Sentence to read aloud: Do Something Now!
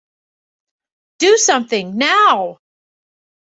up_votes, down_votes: 2, 0